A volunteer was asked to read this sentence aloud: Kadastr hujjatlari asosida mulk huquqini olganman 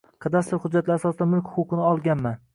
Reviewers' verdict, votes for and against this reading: accepted, 2, 0